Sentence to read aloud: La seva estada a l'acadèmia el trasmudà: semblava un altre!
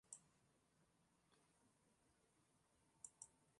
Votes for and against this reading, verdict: 0, 3, rejected